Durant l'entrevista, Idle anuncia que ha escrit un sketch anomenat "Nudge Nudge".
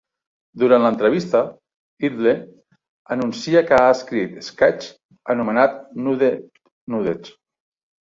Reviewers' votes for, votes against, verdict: 1, 2, rejected